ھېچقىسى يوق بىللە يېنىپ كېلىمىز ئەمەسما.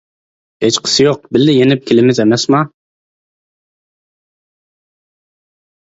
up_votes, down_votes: 2, 0